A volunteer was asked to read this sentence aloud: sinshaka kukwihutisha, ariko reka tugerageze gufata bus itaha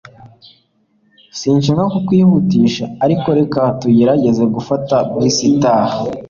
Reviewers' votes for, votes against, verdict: 2, 0, accepted